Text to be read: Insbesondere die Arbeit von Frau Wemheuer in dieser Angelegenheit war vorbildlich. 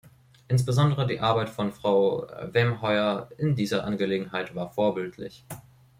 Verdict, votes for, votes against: rejected, 1, 3